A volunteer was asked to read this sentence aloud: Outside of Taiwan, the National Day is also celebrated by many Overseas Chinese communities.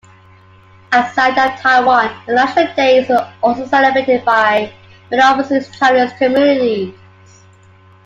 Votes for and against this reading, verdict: 0, 2, rejected